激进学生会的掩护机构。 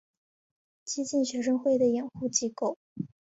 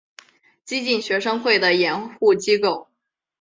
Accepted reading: first